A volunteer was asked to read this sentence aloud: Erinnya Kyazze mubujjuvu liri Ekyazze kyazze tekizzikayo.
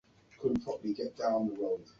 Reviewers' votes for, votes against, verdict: 0, 3, rejected